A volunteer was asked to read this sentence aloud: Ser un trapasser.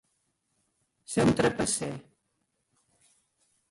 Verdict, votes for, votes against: rejected, 0, 2